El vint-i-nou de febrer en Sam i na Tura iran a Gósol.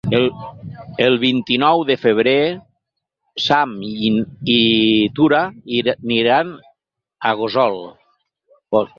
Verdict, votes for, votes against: rejected, 0, 4